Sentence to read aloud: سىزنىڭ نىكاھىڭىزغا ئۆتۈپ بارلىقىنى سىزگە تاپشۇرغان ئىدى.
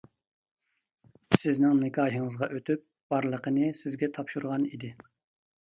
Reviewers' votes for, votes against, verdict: 2, 0, accepted